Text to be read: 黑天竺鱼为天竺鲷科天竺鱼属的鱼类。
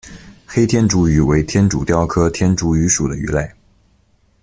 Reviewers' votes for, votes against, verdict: 2, 0, accepted